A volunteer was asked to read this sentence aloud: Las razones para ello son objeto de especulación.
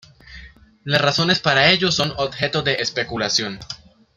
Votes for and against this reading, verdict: 2, 0, accepted